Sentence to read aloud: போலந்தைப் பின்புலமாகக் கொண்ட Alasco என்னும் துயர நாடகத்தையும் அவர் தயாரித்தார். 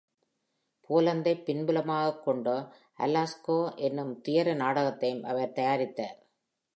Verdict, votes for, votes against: accepted, 2, 1